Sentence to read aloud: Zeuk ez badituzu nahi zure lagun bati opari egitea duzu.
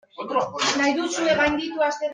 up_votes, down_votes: 0, 2